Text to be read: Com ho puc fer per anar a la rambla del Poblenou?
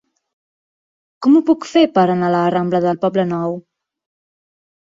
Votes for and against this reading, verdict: 3, 0, accepted